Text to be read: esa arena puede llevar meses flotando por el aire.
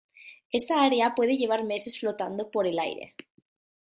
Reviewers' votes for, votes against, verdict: 0, 2, rejected